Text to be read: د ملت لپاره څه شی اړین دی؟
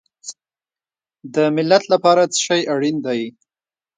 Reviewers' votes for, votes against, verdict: 1, 2, rejected